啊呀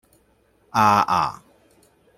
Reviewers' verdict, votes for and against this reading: rejected, 1, 3